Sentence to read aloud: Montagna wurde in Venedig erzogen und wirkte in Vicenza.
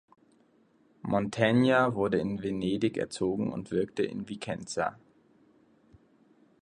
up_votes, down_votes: 1, 2